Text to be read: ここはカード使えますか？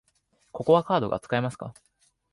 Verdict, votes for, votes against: rejected, 0, 2